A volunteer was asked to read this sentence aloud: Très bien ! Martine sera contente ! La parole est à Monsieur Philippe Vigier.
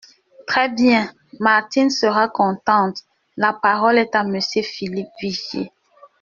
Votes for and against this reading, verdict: 2, 0, accepted